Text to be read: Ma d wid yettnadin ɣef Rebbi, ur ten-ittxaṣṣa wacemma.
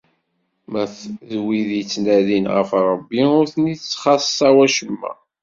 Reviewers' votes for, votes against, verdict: 1, 2, rejected